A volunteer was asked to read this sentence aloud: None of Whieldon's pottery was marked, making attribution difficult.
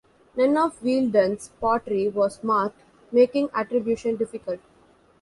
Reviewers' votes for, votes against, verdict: 1, 2, rejected